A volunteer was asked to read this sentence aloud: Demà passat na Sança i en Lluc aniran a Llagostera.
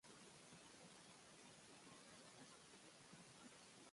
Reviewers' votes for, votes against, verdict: 0, 2, rejected